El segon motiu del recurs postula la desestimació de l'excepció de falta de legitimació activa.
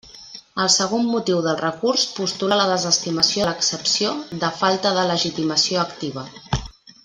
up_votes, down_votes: 1, 2